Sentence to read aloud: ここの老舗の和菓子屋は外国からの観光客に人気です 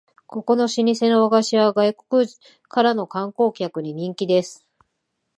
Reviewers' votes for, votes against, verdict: 2, 0, accepted